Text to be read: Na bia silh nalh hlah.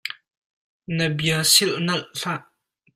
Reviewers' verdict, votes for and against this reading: accepted, 2, 0